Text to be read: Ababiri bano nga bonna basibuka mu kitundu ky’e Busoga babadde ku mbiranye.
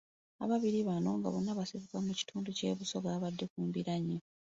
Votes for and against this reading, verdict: 2, 0, accepted